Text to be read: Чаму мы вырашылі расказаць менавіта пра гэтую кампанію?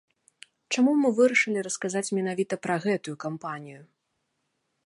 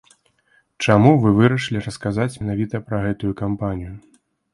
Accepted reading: first